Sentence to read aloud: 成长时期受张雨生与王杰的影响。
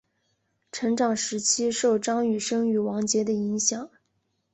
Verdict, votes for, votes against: accepted, 2, 0